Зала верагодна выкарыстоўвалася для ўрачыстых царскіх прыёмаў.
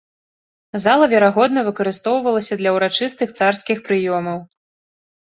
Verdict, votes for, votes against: accepted, 2, 0